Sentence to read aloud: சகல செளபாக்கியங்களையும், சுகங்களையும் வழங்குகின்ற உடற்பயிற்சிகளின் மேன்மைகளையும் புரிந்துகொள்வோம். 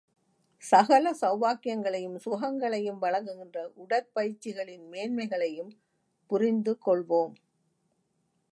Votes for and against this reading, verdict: 3, 0, accepted